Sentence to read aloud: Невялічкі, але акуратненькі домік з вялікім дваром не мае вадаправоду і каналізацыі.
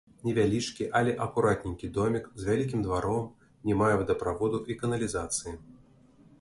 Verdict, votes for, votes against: accepted, 2, 0